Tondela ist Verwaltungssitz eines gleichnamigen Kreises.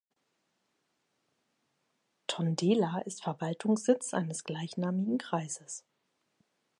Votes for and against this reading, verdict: 2, 0, accepted